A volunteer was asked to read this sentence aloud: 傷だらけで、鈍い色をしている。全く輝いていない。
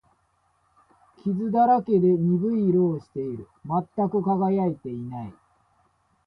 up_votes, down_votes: 2, 0